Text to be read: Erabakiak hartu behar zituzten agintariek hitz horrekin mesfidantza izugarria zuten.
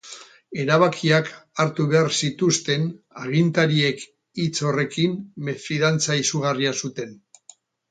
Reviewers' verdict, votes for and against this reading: rejected, 0, 2